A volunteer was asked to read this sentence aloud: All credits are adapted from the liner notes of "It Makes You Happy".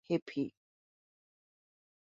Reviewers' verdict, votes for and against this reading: rejected, 0, 2